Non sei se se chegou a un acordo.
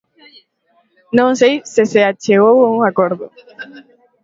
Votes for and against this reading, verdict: 0, 2, rejected